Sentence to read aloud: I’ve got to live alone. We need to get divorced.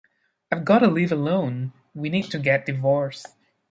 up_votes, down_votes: 1, 2